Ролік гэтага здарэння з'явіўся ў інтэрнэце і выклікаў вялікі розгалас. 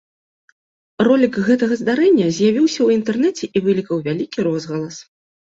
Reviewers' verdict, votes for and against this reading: rejected, 0, 2